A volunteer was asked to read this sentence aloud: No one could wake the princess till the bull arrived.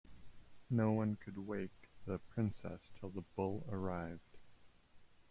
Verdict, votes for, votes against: accepted, 2, 0